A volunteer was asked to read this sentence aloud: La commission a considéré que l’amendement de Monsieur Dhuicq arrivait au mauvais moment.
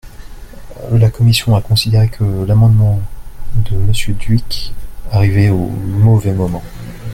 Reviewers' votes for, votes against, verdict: 2, 0, accepted